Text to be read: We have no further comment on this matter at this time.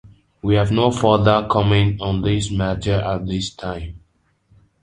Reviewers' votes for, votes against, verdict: 2, 0, accepted